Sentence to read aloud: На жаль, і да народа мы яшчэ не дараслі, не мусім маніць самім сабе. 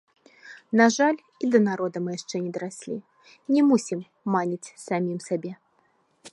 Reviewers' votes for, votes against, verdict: 0, 2, rejected